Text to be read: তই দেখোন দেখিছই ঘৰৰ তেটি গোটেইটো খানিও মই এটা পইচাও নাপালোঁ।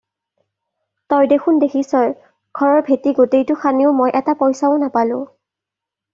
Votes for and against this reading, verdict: 2, 0, accepted